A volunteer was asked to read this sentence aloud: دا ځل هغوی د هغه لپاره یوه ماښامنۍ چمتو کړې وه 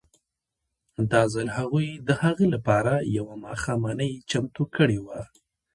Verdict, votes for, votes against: accepted, 2, 0